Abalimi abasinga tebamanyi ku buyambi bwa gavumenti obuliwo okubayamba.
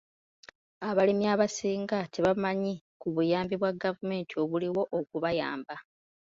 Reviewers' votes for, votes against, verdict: 2, 0, accepted